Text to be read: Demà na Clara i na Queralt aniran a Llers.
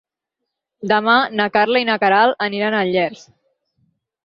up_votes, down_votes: 2, 4